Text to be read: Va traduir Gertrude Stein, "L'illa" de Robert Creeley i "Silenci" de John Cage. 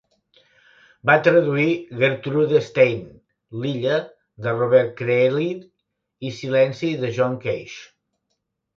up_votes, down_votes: 1, 2